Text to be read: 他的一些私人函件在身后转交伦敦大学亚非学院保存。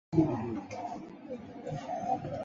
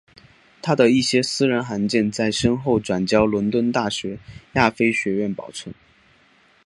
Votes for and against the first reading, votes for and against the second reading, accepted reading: 1, 3, 3, 0, second